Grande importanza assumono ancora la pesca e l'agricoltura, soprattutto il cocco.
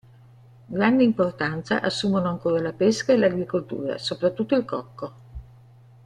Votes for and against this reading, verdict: 2, 0, accepted